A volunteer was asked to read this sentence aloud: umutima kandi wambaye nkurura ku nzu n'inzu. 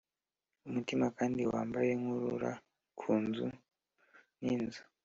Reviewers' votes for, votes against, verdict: 3, 0, accepted